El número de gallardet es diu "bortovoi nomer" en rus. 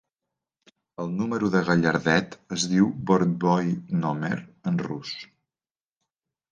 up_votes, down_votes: 1, 2